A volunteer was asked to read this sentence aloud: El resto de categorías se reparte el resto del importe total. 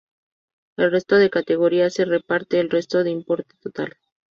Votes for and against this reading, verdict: 0, 2, rejected